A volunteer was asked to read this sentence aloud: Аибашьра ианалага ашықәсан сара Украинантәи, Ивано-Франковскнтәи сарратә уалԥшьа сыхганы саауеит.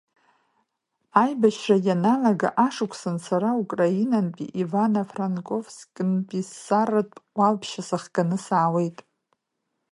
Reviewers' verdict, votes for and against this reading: rejected, 1, 2